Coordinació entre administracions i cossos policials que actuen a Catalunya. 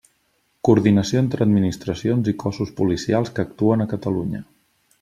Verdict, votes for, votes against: accepted, 3, 0